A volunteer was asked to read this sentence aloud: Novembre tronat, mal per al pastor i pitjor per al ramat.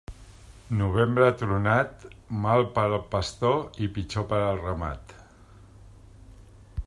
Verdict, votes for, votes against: accepted, 3, 0